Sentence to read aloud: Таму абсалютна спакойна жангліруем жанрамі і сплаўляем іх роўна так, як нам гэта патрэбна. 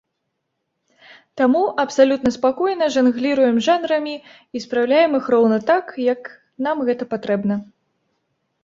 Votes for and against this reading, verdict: 1, 2, rejected